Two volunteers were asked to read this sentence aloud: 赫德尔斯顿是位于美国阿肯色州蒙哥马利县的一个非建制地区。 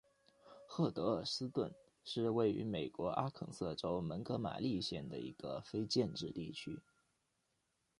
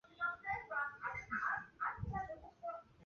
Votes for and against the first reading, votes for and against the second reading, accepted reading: 2, 0, 1, 2, first